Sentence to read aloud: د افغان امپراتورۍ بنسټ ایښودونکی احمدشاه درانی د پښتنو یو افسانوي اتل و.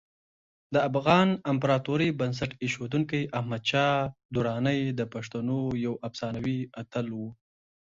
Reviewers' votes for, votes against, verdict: 2, 0, accepted